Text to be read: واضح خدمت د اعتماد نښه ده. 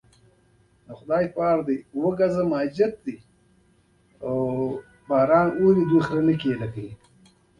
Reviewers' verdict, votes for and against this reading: rejected, 0, 2